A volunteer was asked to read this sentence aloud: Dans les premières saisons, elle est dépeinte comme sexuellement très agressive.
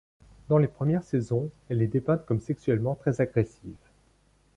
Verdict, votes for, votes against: accepted, 2, 0